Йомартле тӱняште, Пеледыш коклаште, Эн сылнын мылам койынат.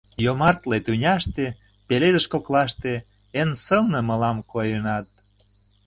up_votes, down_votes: 0, 2